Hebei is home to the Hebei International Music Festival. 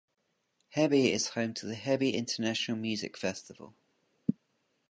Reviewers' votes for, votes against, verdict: 0, 2, rejected